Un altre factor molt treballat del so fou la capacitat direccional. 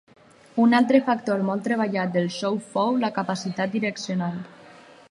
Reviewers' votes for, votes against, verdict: 4, 0, accepted